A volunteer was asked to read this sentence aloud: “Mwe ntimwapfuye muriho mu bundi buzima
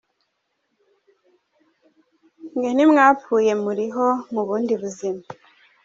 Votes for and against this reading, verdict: 1, 3, rejected